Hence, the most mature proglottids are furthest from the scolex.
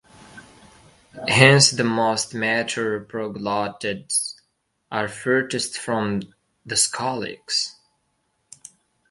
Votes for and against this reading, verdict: 1, 2, rejected